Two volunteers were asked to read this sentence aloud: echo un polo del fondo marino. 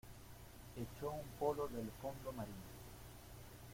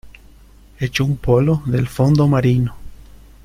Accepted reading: second